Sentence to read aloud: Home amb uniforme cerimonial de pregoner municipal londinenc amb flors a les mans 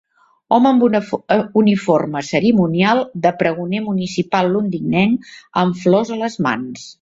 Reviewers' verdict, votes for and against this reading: rejected, 0, 2